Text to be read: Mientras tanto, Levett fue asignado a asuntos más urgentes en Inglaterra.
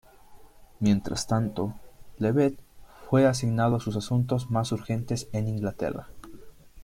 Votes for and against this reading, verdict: 1, 2, rejected